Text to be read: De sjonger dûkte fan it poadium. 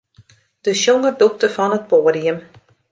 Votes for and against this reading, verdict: 2, 0, accepted